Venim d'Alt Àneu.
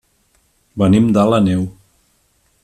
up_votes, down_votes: 2, 3